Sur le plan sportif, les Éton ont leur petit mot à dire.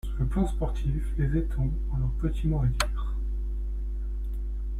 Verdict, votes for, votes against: accepted, 2, 0